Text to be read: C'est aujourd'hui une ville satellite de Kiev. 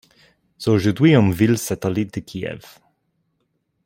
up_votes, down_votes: 0, 2